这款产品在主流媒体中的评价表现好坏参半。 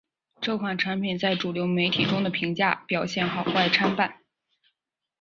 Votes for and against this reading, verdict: 8, 0, accepted